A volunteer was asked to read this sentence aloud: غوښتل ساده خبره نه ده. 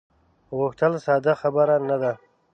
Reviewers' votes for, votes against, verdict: 2, 0, accepted